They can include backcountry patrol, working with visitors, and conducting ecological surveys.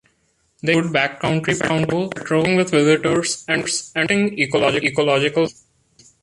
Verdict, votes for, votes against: rejected, 0, 2